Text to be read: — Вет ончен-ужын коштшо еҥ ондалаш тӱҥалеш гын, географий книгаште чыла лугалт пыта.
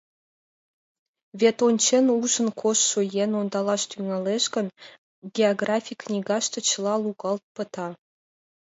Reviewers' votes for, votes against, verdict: 0, 2, rejected